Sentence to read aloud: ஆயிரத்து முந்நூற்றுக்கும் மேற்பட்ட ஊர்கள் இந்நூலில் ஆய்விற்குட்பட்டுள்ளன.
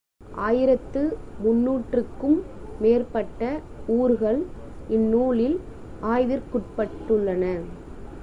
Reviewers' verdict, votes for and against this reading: accepted, 2, 0